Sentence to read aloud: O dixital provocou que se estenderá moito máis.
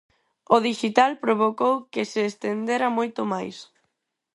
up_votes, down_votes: 0, 4